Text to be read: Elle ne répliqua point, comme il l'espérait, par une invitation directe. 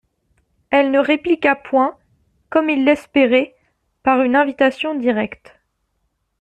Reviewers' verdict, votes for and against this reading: accepted, 2, 0